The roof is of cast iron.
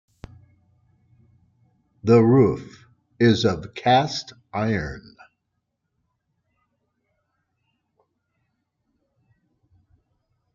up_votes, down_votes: 2, 0